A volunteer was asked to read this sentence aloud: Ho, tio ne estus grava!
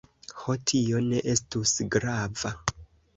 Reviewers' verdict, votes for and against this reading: accepted, 2, 0